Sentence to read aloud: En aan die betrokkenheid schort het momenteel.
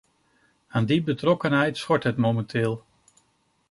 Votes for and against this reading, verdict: 0, 2, rejected